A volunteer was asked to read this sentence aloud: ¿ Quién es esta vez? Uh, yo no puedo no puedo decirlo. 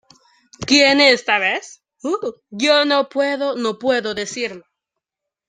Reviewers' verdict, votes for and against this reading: rejected, 1, 2